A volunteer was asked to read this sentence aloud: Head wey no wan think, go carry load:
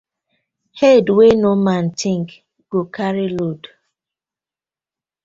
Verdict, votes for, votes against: rejected, 0, 2